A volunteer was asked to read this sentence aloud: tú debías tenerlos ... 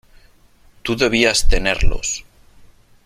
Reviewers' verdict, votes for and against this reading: rejected, 1, 2